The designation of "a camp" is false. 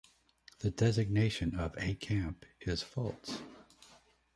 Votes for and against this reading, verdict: 2, 0, accepted